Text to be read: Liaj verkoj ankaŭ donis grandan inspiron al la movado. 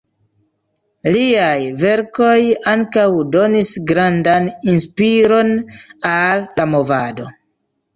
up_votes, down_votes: 2, 0